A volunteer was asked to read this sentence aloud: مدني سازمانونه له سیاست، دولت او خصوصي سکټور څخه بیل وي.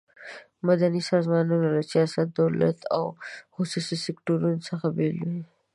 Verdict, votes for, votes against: rejected, 1, 2